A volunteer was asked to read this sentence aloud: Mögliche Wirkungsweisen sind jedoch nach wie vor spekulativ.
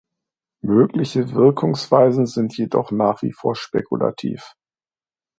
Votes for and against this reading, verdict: 2, 0, accepted